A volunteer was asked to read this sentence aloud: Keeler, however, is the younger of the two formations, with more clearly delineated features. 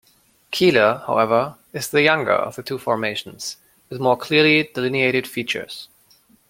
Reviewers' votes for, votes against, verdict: 2, 0, accepted